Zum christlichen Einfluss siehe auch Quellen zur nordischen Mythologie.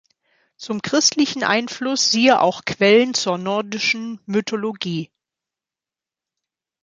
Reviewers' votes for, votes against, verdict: 2, 0, accepted